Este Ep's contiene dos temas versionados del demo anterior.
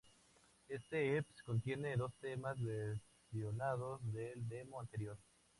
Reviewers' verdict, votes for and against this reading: rejected, 0, 2